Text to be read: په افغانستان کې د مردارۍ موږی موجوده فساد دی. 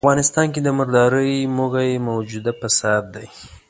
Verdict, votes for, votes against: rejected, 1, 2